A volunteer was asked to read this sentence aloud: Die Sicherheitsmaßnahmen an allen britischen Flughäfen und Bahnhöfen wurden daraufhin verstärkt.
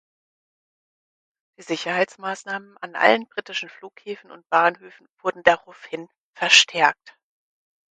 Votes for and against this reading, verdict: 2, 4, rejected